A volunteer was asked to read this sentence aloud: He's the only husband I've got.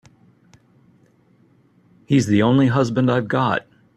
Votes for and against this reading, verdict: 3, 0, accepted